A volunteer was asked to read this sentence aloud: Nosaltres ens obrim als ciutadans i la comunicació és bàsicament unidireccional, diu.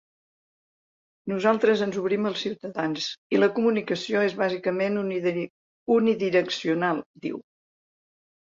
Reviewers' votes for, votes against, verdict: 0, 2, rejected